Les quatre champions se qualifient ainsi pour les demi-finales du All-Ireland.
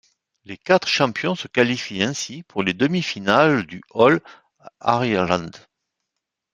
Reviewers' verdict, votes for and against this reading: rejected, 1, 2